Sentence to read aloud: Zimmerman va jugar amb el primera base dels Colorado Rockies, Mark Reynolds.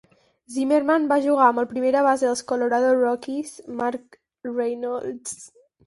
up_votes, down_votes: 6, 0